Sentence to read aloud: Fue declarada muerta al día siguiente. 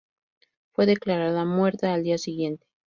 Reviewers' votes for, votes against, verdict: 2, 2, rejected